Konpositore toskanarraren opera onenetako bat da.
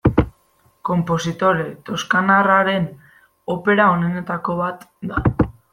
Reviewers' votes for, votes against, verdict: 2, 0, accepted